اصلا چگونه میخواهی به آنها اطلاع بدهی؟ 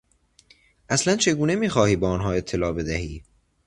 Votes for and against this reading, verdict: 2, 0, accepted